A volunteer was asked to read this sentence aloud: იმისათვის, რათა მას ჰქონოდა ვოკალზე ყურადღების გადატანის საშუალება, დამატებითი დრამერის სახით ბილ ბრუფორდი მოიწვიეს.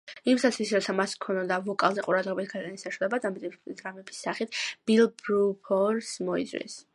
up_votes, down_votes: 0, 2